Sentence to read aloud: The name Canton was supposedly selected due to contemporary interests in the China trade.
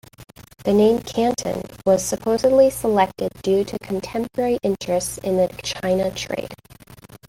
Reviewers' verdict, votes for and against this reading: accepted, 2, 0